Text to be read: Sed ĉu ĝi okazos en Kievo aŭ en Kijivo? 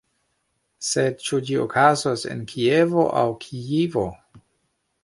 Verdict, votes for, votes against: rejected, 0, 3